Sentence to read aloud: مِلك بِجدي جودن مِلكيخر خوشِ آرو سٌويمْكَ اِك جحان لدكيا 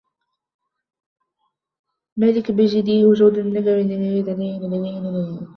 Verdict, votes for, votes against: rejected, 0, 2